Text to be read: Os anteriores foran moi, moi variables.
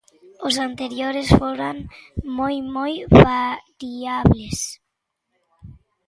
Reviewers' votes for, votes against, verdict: 1, 3, rejected